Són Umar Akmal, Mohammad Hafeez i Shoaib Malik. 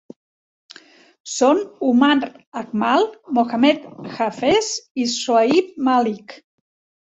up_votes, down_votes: 2, 0